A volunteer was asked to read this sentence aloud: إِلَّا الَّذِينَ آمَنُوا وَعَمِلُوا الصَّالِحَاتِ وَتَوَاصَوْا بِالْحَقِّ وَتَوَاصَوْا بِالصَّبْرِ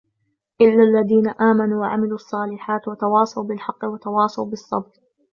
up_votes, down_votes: 3, 0